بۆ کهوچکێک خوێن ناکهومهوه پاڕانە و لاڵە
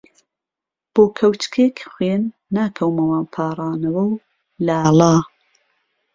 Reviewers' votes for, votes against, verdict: 0, 2, rejected